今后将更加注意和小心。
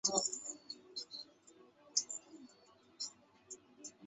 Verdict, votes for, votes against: rejected, 0, 2